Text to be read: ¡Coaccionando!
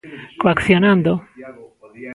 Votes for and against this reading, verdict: 2, 1, accepted